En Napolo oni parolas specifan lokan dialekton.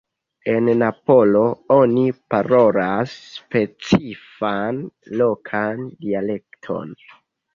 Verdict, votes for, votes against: rejected, 0, 2